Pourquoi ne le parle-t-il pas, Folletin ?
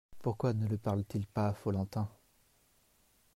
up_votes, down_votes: 1, 2